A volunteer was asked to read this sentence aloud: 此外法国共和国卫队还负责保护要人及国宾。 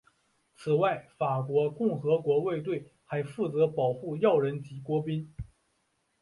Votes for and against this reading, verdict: 3, 0, accepted